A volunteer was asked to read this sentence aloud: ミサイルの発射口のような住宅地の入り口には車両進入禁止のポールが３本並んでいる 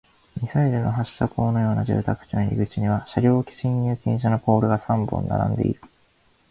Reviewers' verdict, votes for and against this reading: rejected, 0, 2